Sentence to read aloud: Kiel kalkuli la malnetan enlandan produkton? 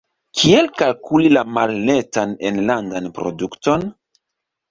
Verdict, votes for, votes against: accepted, 2, 0